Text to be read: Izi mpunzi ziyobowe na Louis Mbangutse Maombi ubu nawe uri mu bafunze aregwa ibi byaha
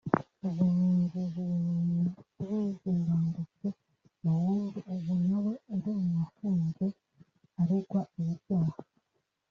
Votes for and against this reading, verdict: 0, 2, rejected